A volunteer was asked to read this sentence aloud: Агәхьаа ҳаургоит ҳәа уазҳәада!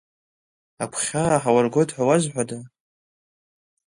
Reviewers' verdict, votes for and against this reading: rejected, 1, 2